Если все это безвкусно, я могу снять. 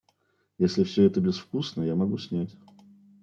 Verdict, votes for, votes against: accepted, 2, 0